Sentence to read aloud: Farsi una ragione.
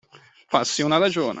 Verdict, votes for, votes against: accepted, 2, 0